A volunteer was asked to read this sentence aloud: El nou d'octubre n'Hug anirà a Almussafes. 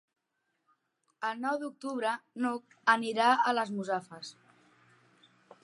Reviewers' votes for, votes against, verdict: 0, 2, rejected